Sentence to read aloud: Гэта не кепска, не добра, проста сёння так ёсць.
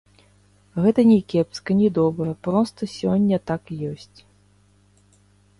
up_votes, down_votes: 0, 3